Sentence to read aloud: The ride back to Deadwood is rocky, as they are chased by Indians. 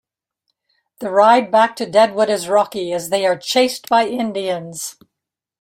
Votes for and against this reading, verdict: 2, 0, accepted